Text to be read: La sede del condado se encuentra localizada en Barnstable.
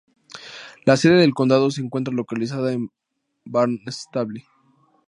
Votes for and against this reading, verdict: 2, 0, accepted